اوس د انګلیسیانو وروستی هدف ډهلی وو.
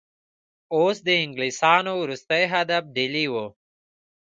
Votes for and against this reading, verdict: 1, 2, rejected